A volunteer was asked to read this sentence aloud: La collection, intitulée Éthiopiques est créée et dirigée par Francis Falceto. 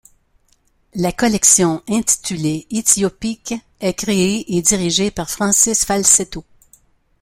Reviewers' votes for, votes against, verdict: 2, 0, accepted